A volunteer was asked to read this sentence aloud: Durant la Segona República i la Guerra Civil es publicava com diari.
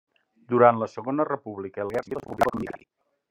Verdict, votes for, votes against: rejected, 0, 3